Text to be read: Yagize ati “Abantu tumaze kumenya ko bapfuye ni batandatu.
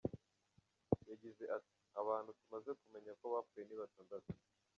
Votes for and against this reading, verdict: 1, 2, rejected